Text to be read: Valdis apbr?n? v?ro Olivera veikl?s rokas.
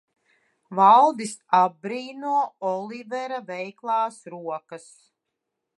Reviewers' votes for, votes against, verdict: 0, 2, rejected